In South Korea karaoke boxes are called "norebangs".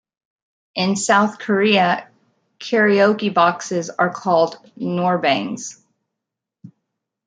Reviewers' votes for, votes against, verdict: 2, 1, accepted